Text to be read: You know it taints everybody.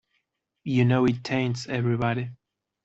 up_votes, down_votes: 2, 0